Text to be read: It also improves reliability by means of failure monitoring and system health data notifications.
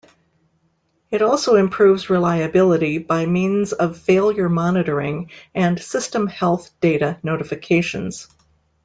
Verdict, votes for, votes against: accepted, 2, 0